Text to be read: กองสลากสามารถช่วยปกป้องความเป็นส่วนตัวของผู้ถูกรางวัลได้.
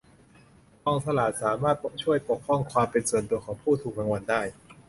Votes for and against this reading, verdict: 0, 2, rejected